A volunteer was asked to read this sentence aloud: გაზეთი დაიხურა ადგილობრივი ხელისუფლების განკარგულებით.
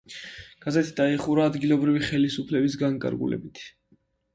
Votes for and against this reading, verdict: 1, 2, rejected